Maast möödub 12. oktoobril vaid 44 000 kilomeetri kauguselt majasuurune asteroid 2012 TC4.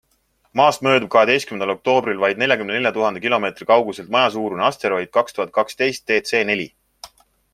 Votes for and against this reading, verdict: 0, 2, rejected